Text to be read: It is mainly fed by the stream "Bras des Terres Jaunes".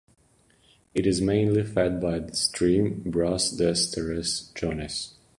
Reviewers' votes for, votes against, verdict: 0, 2, rejected